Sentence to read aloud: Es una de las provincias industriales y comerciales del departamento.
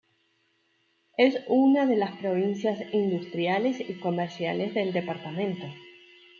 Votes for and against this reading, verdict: 3, 0, accepted